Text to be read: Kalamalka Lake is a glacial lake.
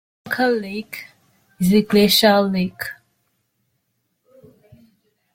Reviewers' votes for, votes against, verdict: 0, 2, rejected